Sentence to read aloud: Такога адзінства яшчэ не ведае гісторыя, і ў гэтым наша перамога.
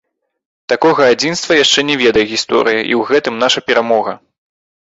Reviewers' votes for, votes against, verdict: 0, 2, rejected